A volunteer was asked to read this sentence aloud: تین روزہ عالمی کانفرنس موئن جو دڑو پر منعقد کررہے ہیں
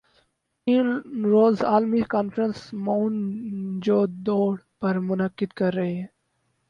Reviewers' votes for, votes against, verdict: 0, 2, rejected